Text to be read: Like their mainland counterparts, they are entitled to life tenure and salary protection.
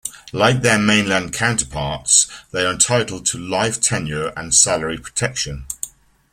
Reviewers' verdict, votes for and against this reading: accepted, 2, 0